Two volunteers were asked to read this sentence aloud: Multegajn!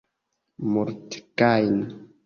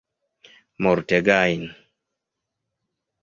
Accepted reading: second